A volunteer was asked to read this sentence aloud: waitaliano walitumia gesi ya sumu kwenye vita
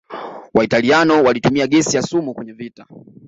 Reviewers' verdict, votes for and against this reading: accepted, 2, 0